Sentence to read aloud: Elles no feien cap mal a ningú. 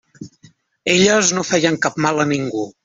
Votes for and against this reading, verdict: 3, 0, accepted